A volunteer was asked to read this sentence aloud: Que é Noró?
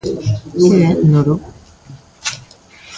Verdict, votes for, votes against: rejected, 0, 2